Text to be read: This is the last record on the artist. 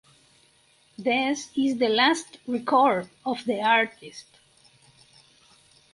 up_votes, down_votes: 0, 4